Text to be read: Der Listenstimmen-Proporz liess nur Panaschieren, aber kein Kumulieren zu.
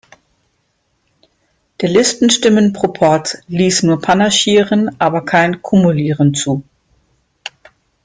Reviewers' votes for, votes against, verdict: 2, 0, accepted